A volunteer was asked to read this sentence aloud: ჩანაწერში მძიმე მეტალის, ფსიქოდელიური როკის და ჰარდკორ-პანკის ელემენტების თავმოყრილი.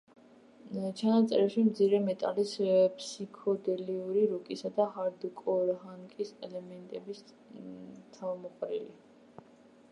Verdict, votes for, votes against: rejected, 0, 2